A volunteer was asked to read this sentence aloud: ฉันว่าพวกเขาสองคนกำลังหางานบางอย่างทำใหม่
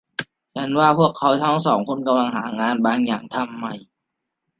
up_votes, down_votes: 0, 2